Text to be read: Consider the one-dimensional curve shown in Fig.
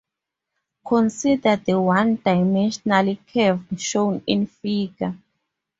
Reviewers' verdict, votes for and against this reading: rejected, 2, 2